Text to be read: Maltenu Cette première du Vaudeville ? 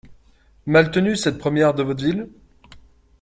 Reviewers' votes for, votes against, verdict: 1, 2, rejected